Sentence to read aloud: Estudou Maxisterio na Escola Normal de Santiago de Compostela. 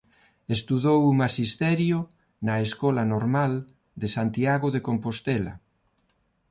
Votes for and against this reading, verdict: 2, 0, accepted